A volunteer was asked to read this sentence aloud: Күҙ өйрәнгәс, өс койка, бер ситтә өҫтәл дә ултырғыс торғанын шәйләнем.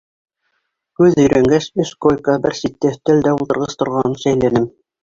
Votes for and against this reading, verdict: 1, 2, rejected